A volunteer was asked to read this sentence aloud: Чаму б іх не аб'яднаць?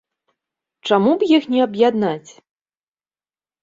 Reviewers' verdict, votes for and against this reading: accepted, 2, 0